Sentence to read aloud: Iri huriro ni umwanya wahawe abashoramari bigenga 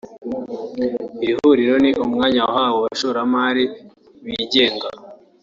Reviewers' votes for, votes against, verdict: 2, 0, accepted